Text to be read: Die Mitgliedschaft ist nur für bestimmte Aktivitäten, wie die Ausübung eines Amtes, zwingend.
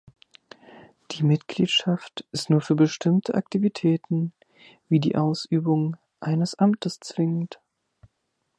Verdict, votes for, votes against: accepted, 3, 0